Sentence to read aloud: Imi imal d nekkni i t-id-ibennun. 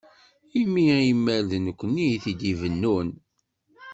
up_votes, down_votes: 2, 0